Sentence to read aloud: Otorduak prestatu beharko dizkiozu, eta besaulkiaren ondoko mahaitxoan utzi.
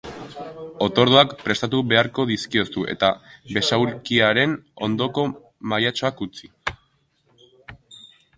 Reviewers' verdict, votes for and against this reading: accepted, 2, 0